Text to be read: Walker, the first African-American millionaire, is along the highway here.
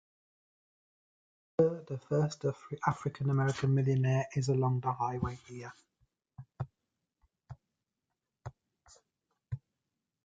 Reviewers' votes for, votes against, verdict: 2, 0, accepted